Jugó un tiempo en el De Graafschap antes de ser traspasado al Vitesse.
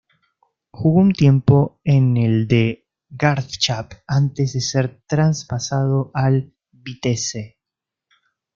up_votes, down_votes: 1, 2